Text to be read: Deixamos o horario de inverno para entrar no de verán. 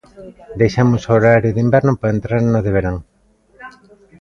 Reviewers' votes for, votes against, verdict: 2, 0, accepted